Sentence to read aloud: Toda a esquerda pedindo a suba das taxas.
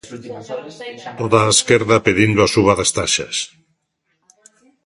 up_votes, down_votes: 2, 0